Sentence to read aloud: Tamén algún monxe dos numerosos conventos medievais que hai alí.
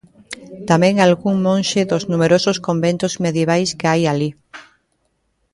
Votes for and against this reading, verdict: 2, 0, accepted